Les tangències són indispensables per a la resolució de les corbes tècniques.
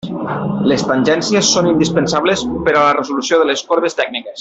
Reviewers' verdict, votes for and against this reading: accepted, 2, 0